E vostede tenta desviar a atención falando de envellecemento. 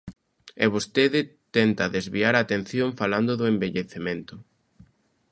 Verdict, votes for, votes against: rejected, 1, 2